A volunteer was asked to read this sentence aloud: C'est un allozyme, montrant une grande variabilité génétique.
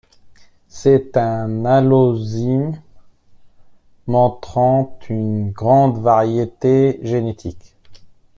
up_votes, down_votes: 0, 2